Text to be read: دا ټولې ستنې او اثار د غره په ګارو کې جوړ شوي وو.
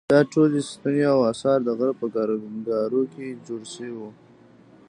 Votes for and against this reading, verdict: 1, 3, rejected